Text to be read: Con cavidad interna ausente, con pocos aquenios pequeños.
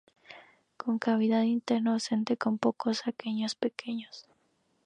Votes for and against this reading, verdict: 0, 2, rejected